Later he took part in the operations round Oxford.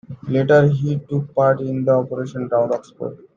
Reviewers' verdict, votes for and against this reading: rejected, 0, 2